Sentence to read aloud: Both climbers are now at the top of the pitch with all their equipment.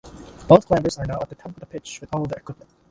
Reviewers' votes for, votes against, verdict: 1, 2, rejected